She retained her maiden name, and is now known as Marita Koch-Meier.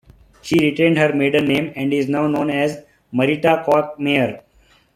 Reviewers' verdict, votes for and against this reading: accepted, 2, 0